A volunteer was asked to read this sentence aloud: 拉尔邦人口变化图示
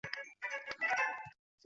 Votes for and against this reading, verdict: 1, 2, rejected